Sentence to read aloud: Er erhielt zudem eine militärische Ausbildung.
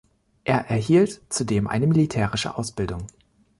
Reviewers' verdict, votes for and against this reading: accepted, 2, 0